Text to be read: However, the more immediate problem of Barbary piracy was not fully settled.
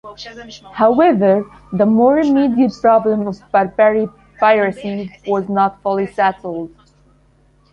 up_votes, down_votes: 1, 2